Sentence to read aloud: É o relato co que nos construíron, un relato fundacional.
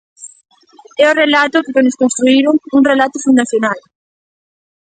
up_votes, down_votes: 2, 1